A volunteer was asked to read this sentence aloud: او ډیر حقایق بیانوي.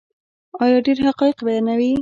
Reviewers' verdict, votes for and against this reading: rejected, 1, 2